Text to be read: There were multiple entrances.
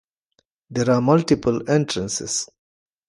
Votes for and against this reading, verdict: 0, 2, rejected